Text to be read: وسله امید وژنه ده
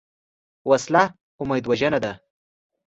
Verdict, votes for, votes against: accepted, 2, 0